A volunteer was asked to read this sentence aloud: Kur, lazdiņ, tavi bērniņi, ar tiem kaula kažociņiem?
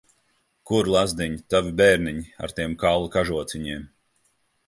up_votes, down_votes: 2, 0